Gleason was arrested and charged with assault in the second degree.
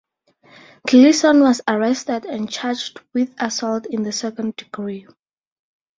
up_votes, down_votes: 4, 0